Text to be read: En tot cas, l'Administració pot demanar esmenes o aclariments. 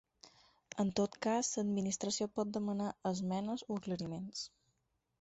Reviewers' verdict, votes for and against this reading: rejected, 2, 4